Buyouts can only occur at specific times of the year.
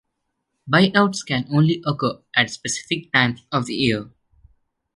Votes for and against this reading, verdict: 3, 1, accepted